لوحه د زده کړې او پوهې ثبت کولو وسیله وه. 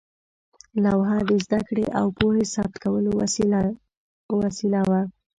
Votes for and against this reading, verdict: 2, 0, accepted